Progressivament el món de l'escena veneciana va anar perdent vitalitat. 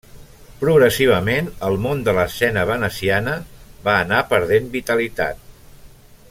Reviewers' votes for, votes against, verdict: 3, 0, accepted